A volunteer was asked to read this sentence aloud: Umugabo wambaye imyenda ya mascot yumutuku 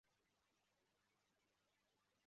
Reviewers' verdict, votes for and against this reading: rejected, 1, 2